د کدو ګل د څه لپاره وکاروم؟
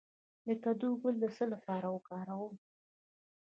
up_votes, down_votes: 1, 2